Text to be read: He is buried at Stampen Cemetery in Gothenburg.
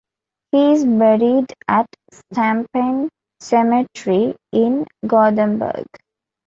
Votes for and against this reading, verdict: 2, 1, accepted